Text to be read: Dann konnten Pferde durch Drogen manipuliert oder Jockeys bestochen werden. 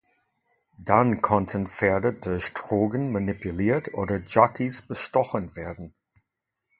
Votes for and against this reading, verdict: 0, 2, rejected